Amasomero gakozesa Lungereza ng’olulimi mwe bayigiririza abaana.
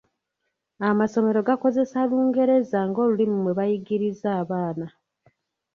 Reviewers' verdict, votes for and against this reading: rejected, 0, 2